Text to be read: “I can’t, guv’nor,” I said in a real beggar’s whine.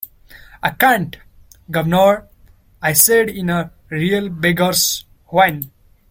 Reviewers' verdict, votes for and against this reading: accepted, 2, 0